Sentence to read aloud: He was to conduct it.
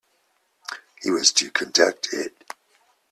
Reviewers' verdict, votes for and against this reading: rejected, 0, 2